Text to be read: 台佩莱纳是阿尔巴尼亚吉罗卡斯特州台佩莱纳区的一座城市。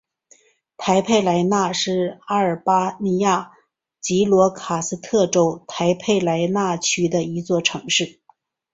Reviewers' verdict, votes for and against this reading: accepted, 3, 0